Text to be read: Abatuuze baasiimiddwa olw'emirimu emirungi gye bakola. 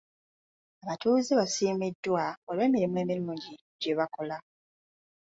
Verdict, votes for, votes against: accepted, 2, 0